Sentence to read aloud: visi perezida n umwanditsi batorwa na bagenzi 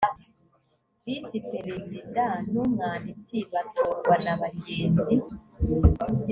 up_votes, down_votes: 2, 0